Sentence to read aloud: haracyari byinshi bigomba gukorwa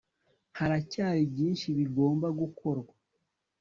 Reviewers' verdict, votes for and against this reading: accepted, 2, 0